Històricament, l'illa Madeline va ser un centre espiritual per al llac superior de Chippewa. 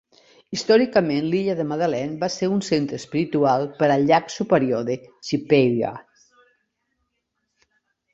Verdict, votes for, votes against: rejected, 1, 2